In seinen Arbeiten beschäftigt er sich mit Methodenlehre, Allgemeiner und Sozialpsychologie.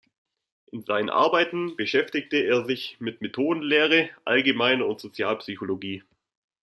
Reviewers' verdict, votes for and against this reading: rejected, 1, 2